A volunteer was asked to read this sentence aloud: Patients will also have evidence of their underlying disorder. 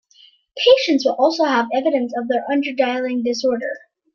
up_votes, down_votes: 0, 2